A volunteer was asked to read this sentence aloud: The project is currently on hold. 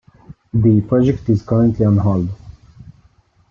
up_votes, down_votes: 2, 0